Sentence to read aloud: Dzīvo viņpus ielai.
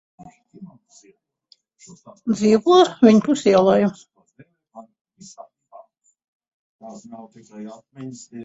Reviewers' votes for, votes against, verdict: 0, 2, rejected